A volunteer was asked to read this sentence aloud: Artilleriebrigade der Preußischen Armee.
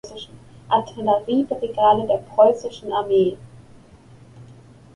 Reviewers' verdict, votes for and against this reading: accepted, 2, 0